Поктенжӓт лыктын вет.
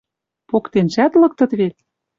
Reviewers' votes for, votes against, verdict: 1, 2, rejected